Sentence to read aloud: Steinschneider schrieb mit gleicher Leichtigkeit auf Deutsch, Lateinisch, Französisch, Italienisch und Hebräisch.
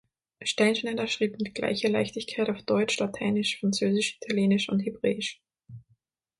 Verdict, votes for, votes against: rejected, 3, 6